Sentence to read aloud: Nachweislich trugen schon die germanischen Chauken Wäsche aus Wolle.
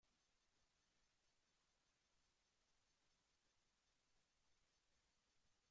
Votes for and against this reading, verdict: 0, 2, rejected